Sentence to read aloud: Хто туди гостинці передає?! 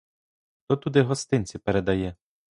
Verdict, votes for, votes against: rejected, 0, 2